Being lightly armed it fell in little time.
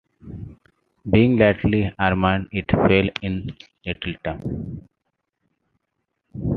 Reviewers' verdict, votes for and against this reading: accepted, 2, 1